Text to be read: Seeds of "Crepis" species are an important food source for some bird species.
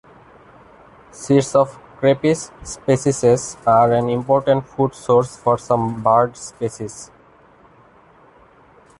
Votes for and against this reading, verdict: 0, 2, rejected